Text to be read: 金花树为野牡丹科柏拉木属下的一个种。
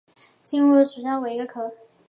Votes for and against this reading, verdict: 0, 2, rejected